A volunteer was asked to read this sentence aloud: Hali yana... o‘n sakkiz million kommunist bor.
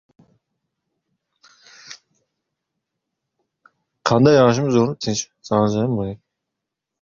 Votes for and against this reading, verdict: 0, 2, rejected